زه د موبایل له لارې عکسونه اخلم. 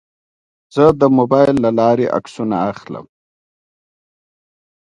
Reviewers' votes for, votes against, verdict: 2, 0, accepted